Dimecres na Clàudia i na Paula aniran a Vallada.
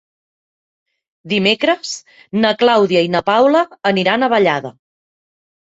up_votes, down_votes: 6, 0